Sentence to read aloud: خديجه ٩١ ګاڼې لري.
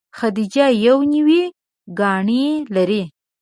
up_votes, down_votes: 0, 2